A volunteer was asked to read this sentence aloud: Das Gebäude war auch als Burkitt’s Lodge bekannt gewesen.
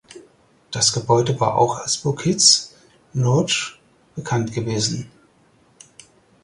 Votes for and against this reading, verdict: 4, 0, accepted